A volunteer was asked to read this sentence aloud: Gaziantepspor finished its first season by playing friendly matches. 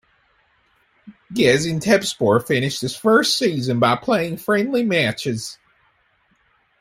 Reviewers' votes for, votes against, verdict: 2, 1, accepted